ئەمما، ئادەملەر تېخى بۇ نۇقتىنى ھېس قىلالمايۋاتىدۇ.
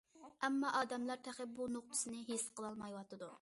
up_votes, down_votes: 0, 2